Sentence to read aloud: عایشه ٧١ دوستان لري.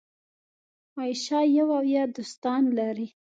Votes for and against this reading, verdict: 0, 2, rejected